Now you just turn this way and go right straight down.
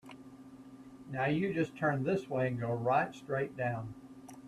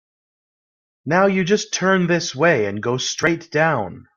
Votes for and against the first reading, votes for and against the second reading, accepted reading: 2, 1, 0, 2, first